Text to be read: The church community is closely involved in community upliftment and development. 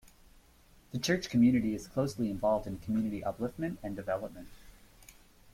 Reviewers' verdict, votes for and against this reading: accepted, 2, 0